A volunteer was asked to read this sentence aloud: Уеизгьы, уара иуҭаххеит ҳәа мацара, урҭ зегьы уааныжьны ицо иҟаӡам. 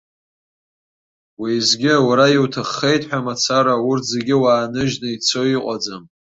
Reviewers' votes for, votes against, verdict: 2, 0, accepted